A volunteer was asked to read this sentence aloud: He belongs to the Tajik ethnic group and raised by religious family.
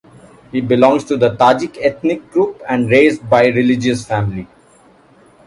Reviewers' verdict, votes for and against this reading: accepted, 2, 0